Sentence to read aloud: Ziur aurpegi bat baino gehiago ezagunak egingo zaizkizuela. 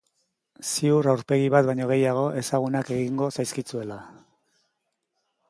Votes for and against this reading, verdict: 3, 0, accepted